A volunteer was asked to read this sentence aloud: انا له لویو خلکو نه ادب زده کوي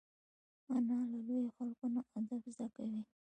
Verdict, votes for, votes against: rejected, 0, 2